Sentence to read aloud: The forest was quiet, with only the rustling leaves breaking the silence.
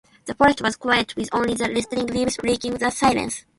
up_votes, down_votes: 2, 0